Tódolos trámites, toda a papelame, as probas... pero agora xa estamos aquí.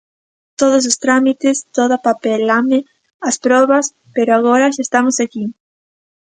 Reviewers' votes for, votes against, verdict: 0, 2, rejected